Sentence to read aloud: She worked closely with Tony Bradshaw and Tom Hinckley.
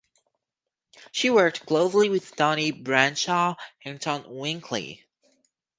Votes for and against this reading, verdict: 4, 2, accepted